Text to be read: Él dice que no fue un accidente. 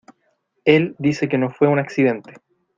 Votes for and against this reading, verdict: 2, 0, accepted